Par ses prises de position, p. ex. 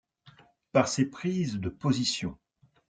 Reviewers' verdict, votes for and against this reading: rejected, 0, 2